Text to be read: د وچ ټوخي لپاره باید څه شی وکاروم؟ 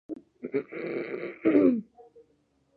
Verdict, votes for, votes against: rejected, 0, 2